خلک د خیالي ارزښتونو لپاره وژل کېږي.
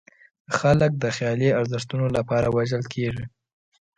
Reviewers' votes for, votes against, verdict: 2, 0, accepted